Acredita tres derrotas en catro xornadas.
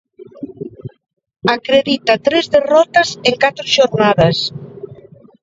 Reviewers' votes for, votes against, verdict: 2, 0, accepted